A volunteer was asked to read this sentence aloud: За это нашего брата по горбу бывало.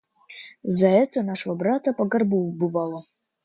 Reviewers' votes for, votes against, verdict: 0, 2, rejected